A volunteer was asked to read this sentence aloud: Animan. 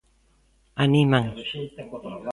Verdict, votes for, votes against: rejected, 1, 2